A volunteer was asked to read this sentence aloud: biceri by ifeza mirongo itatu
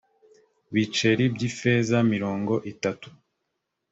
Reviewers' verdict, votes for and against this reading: accepted, 2, 0